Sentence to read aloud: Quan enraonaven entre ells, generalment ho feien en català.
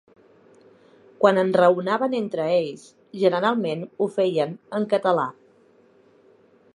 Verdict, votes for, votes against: accepted, 2, 1